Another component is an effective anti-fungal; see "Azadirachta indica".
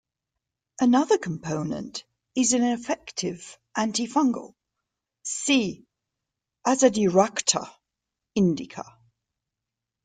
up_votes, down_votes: 2, 0